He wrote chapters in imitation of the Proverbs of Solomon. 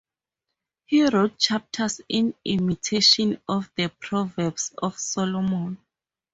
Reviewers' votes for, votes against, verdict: 2, 2, rejected